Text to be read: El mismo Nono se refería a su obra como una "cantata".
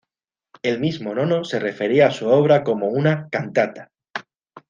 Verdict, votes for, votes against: accepted, 2, 0